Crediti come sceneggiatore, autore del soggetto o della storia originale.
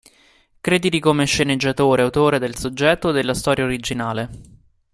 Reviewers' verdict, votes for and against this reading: accepted, 2, 0